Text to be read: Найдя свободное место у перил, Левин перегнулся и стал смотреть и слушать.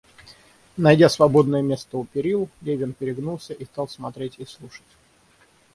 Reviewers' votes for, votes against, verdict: 3, 3, rejected